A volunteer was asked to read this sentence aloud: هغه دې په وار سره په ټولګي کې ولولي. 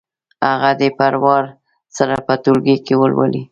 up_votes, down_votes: 2, 0